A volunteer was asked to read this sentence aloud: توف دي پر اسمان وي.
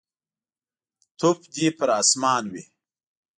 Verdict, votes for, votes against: accepted, 2, 0